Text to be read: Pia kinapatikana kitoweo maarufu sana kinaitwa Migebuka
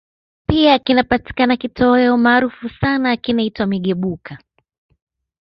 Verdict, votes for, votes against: rejected, 1, 2